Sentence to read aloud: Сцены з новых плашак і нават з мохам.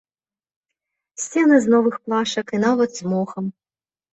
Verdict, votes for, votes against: accepted, 2, 0